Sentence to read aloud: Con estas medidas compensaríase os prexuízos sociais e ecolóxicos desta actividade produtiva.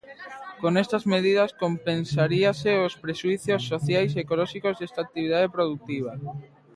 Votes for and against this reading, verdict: 2, 1, accepted